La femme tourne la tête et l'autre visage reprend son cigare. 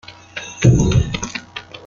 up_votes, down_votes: 0, 2